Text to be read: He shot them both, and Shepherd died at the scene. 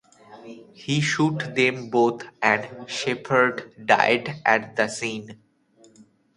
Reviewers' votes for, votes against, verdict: 0, 2, rejected